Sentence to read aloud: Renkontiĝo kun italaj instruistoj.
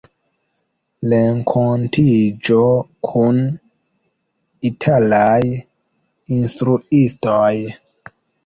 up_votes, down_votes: 1, 2